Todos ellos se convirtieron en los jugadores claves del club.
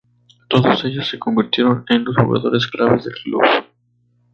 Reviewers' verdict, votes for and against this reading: accepted, 2, 0